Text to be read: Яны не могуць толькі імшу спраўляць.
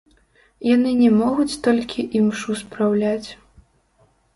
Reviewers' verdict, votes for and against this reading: rejected, 1, 2